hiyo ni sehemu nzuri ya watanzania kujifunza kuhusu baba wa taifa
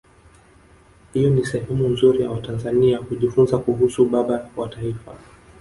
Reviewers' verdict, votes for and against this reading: rejected, 1, 2